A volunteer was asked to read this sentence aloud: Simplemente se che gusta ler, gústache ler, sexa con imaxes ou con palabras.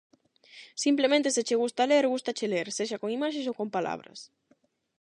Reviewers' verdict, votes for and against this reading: accepted, 8, 0